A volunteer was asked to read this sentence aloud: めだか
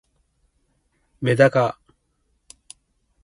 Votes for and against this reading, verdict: 2, 0, accepted